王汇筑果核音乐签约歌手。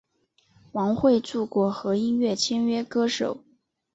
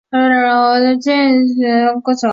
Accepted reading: first